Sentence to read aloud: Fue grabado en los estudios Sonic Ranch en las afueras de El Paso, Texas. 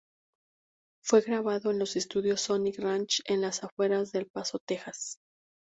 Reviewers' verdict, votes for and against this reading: accepted, 2, 0